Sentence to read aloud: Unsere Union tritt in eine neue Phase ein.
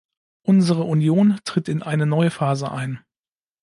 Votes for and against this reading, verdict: 2, 0, accepted